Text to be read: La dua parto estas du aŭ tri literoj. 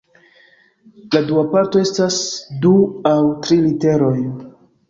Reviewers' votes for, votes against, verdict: 2, 0, accepted